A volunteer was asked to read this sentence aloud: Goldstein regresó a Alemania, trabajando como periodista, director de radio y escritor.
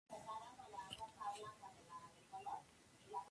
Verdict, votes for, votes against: rejected, 0, 2